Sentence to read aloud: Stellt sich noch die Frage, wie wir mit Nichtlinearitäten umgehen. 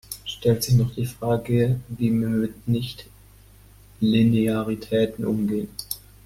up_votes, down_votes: 1, 2